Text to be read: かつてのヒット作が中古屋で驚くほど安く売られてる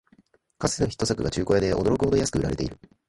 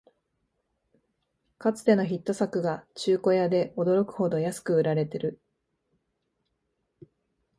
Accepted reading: second